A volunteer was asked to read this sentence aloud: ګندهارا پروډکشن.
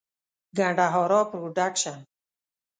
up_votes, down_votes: 1, 2